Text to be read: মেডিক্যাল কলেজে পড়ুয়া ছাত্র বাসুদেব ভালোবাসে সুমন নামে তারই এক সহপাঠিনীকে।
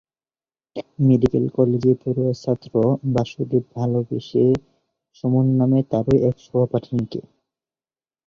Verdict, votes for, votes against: rejected, 0, 2